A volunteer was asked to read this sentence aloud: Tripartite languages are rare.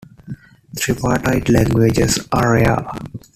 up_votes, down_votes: 1, 2